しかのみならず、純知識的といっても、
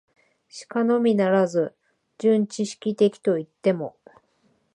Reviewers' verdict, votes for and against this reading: accepted, 2, 0